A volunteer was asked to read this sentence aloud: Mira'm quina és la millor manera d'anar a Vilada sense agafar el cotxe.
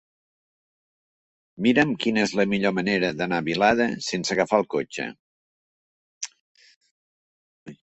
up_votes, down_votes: 4, 0